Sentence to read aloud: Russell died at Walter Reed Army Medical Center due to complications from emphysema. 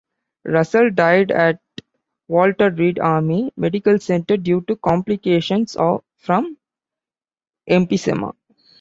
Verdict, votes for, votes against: rejected, 1, 2